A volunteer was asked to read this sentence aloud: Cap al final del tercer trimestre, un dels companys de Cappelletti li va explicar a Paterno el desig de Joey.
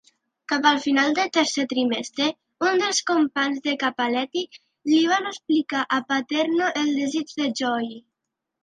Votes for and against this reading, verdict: 1, 2, rejected